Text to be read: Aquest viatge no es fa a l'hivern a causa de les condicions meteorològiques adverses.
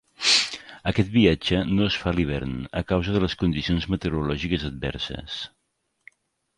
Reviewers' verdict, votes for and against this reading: accepted, 3, 0